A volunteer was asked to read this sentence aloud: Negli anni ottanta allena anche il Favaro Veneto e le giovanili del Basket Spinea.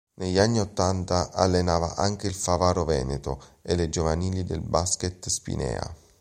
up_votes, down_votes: 1, 2